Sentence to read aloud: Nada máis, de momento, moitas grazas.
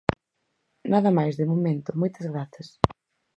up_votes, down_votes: 4, 0